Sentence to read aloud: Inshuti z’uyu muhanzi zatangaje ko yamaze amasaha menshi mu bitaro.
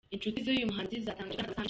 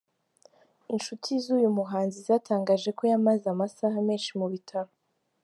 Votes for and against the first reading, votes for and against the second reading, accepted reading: 0, 2, 5, 2, second